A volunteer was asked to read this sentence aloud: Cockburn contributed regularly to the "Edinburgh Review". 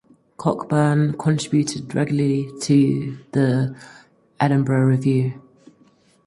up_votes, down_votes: 4, 2